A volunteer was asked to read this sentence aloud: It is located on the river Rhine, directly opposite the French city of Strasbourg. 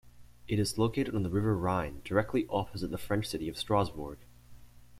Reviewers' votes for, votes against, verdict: 2, 0, accepted